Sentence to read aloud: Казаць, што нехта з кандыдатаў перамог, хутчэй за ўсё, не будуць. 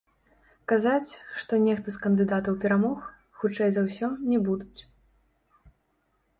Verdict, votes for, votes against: rejected, 0, 2